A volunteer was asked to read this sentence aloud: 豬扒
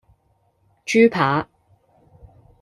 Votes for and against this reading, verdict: 2, 0, accepted